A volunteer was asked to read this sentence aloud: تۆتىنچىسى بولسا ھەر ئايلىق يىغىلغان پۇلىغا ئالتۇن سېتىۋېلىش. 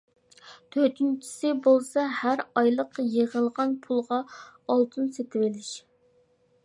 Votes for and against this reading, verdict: 2, 0, accepted